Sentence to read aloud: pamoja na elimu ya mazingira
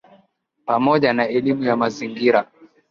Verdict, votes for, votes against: accepted, 2, 1